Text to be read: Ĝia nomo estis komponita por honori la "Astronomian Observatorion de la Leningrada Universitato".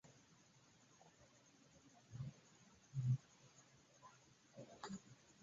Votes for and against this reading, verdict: 1, 2, rejected